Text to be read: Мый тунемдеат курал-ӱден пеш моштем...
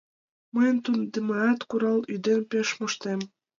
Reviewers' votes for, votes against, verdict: 2, 0, accepted